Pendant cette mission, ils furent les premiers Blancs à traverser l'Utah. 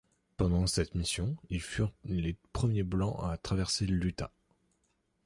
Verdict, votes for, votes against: accepted, 2, 0